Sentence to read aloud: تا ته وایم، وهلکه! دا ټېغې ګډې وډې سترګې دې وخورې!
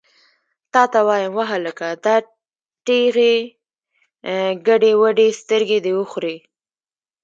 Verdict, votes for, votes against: rejected, 0, 2